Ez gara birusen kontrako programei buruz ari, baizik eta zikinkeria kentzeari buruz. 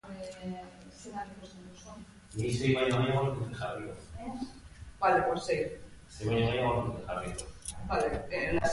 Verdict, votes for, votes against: rejected, 0, 2